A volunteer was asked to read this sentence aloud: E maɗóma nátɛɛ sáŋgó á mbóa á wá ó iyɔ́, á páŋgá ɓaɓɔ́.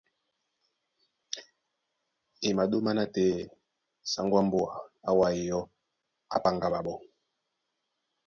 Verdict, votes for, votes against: accepted, 2, 0